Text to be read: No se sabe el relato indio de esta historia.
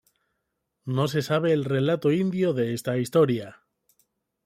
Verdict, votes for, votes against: accepted, 2, 0